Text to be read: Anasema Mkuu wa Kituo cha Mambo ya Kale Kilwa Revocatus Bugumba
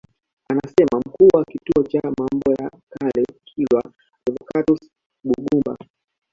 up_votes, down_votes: 0, 2